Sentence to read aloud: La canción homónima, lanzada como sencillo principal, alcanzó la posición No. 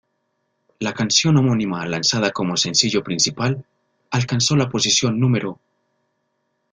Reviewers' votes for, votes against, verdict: 1, 2, rejected